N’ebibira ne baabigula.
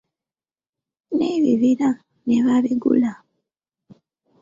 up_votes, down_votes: 1, 2